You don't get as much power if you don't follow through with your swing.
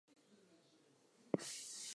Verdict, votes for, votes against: rejected, 0, 4